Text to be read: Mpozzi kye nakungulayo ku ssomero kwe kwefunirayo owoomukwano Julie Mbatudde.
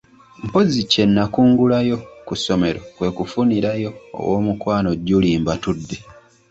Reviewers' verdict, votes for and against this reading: rejected, 0, 2